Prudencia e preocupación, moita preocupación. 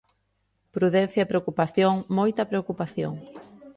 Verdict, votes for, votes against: accepted, 2, 0